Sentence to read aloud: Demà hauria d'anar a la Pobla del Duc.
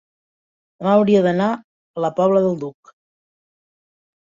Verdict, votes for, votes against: rejected, 0, 2